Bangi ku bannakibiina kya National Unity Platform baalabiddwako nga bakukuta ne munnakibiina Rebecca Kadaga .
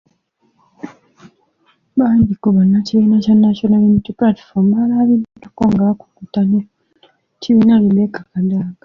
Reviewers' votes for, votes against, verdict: 1, 2, rejected